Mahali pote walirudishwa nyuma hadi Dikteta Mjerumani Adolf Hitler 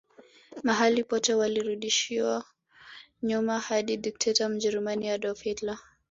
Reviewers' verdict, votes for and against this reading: rejected, 1, 2